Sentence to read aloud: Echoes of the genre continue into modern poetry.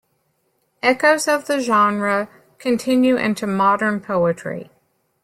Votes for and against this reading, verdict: 2, 0, accepted